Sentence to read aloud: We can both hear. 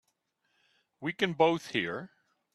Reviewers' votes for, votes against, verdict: 2, 0, accepted